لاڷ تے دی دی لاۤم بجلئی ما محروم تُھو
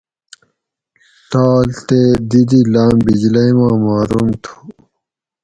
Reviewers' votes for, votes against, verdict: 2, 2, rejected